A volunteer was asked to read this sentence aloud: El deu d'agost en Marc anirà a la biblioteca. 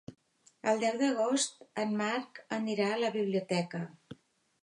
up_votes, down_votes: 3, 0